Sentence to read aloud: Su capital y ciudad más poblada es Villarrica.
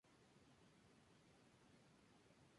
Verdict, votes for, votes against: accepted, 2, 0